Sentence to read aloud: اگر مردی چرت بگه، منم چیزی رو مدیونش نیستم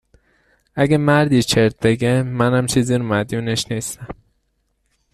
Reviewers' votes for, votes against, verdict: 2, 1, accepted